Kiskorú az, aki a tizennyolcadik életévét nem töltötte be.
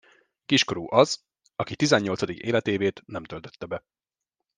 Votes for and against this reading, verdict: 1, 2, rejected